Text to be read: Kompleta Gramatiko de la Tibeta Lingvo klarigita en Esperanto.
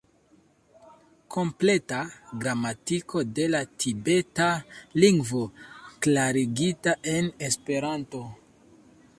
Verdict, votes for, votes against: accepted, 2, 0